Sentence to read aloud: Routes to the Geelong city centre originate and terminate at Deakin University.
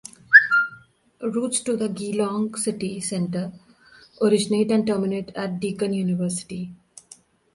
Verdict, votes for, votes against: rejected, 1, 2